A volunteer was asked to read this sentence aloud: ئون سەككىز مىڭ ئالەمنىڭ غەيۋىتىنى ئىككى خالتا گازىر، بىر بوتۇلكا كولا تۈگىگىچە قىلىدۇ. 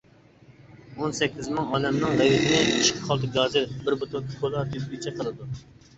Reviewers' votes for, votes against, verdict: 0, 2, rejected